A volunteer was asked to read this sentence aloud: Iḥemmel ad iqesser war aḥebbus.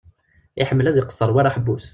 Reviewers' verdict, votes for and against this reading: accepted, 2, 0